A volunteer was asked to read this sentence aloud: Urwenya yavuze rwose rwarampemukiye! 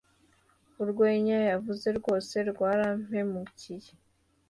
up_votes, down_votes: 2, 0